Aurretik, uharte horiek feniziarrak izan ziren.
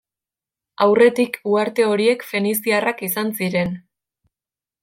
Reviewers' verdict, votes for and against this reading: accepted, 2, 0